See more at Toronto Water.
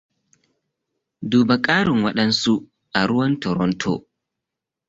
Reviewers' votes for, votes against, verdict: 0, 2, rejected